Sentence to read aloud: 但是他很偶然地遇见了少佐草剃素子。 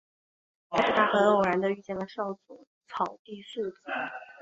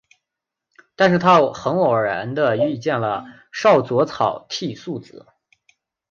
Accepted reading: second